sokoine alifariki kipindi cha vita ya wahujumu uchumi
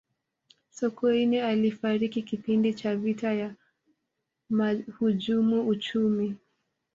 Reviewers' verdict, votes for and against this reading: rejected, 1, 2